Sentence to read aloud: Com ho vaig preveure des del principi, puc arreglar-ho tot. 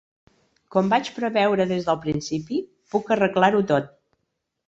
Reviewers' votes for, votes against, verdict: 0, 2, rejected